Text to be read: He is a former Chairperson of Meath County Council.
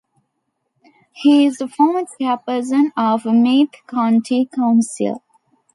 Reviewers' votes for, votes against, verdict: 2, 1, accepted